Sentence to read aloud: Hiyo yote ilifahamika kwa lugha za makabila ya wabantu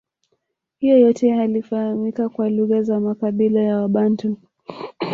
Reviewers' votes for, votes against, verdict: 1, 2, rejected